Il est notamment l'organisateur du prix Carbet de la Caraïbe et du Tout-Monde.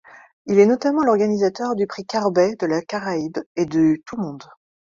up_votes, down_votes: 2, 0